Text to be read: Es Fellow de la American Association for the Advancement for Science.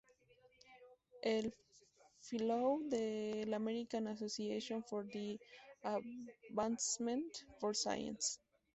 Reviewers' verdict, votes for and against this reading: rejected, 0, 2